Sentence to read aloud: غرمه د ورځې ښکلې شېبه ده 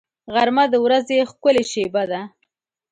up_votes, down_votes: 2, 0